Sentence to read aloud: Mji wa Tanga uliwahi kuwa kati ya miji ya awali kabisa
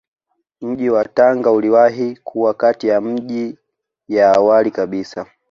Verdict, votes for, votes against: accepted, 2, 1